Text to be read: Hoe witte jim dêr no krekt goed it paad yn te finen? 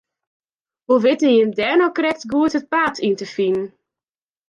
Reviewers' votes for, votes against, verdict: 2, 0, accepted